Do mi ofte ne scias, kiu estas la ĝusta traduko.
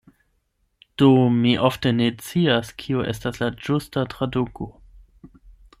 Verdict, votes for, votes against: rejected, 0, 8